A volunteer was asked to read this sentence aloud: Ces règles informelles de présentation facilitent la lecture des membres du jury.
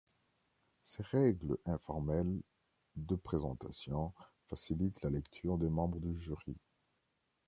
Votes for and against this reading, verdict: 2, 0, accepted